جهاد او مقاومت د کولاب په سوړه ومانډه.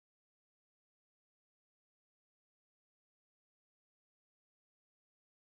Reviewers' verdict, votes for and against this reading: rejected, 0, 2